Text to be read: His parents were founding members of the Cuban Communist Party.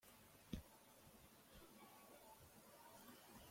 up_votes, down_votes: 0, 2